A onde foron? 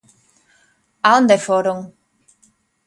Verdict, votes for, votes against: accepted, 2, 0